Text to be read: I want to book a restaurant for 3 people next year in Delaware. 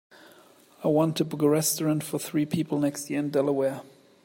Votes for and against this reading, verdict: 0, 2, rejected